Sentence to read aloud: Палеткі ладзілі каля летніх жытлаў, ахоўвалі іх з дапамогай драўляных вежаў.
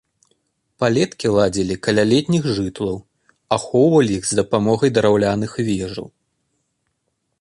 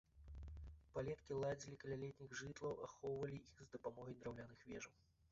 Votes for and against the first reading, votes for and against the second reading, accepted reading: 2, 0, 1, 2, first